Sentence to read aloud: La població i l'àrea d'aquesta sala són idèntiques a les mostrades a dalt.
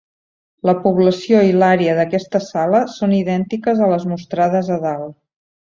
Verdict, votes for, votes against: accepted, 5, 0